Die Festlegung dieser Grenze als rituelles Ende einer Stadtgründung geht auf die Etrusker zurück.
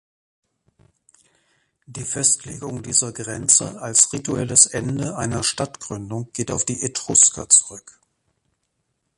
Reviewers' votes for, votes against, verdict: 1, 3, rejected